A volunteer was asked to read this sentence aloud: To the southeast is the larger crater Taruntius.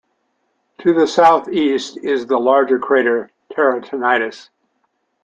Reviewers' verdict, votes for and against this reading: rejected, 0, 2